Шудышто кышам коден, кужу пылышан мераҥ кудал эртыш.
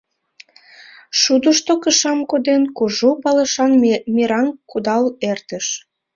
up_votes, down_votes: 0, 2